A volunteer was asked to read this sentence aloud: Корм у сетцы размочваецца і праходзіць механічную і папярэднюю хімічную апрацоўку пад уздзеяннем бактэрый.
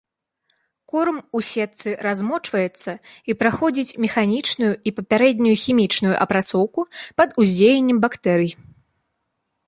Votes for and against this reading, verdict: 2, 0, accepted